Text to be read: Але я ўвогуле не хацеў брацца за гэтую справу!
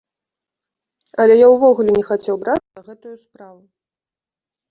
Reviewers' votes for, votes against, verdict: 1, 2, rejected